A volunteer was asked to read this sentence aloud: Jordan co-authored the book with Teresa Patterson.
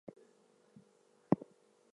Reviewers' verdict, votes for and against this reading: rejected, 0, 2